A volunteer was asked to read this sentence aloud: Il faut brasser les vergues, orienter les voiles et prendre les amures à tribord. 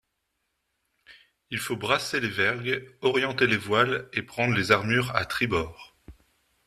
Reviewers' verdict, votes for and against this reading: rejected, 1, 2